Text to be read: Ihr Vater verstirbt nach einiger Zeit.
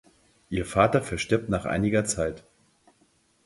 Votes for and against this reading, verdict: 4, 0, accepted